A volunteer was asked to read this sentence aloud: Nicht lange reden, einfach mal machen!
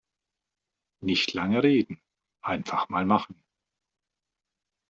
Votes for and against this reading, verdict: 2, 1, accepted